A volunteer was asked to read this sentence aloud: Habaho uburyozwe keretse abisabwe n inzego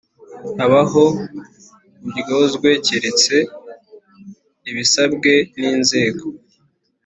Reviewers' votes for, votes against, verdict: 3, 1, accepted